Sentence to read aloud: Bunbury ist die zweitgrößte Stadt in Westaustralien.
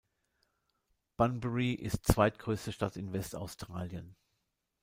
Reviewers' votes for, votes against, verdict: 1, 2, rejected